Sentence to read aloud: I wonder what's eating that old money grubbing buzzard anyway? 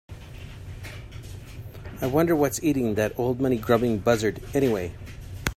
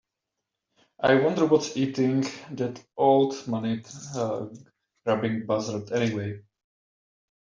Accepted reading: first